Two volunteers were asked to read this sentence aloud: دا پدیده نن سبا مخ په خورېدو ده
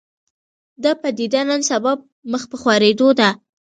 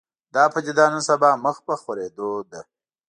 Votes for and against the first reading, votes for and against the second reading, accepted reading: 2, 0, 1, 2, first